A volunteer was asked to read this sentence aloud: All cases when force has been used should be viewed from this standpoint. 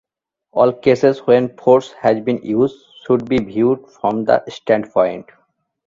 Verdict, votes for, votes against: rejected, 1, 3